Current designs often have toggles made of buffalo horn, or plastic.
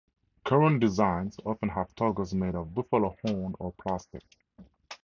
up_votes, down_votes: 2, 0